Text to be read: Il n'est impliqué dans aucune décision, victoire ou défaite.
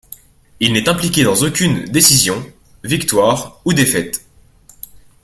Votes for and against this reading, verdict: 2, 0, accepted